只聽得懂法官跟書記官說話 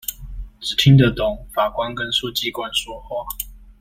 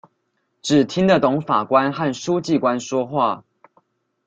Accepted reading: first